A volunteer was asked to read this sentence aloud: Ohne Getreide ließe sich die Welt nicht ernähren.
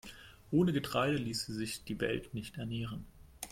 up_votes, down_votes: 2, 0